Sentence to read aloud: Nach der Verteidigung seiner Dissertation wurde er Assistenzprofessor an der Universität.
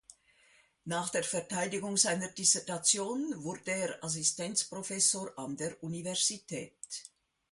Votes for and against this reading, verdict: 2, 0, accepted